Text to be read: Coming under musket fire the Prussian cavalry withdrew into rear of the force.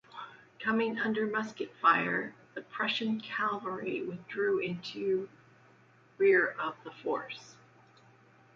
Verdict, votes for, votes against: accepted, 2, 0